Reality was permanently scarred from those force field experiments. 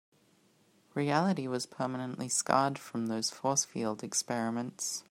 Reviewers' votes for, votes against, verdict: 2, 0, accepted